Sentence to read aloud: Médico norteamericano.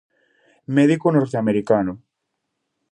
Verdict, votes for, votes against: accepted, 2, 0